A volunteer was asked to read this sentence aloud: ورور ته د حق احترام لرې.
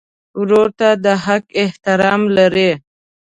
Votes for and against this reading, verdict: 2, 0, accepted